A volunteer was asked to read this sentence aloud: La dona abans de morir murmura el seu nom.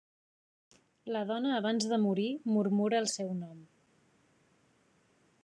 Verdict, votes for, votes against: accepted, 3, 0